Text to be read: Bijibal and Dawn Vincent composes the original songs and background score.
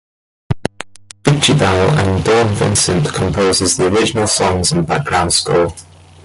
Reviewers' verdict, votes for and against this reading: rejected, 0, 2